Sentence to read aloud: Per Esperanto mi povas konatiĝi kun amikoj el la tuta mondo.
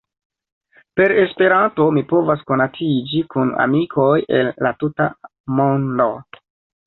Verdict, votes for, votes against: accepted, 2, 1